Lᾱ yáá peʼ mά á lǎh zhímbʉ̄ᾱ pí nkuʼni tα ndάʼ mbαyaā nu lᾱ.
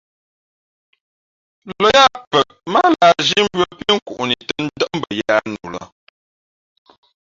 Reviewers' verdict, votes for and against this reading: rejected, 1, 2